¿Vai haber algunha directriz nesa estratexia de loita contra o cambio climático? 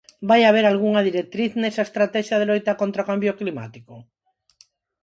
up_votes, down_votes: 4, 0